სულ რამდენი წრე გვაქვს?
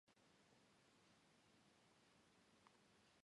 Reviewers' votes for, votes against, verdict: 1, 2, rejected